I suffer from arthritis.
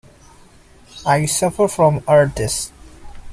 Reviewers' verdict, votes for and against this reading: rejected, 0, 2